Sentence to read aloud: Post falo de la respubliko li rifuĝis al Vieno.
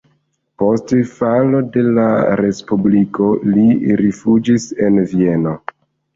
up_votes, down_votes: 0, 2